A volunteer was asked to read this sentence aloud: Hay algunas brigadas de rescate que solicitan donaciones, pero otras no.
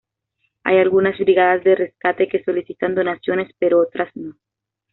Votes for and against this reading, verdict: 2, 0, accepted